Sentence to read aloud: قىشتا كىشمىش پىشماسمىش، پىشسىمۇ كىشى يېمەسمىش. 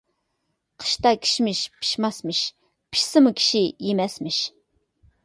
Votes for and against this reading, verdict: 2, 0, accepted